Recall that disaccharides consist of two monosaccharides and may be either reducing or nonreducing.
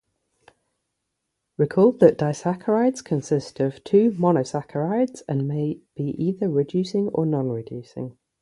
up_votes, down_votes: 3, 0